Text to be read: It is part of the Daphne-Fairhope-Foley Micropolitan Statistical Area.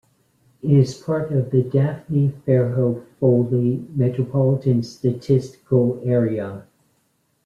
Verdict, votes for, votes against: rejected, 1, 2